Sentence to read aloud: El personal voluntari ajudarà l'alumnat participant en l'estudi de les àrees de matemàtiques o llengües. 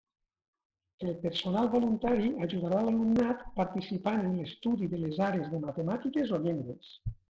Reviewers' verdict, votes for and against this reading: rejected, 0, 2